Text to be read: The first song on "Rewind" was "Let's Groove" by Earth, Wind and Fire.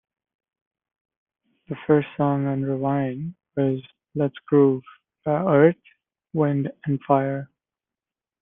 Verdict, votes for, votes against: rejected, 1, 2